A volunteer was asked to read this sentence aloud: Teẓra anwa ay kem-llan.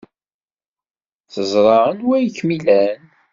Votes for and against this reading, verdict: 2, 0, accepted